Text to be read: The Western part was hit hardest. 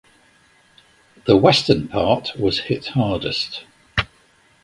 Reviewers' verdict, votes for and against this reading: accepted, 2, 0